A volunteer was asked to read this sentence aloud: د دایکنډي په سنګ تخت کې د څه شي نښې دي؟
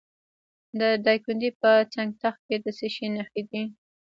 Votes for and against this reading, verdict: 0, 2, rejected